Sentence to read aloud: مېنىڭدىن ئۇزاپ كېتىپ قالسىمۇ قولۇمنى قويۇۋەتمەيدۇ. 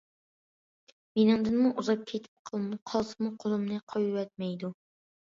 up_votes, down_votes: 0, 2